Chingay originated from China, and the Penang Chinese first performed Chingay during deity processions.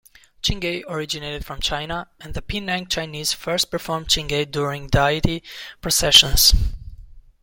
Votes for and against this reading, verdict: 2, 1, accepted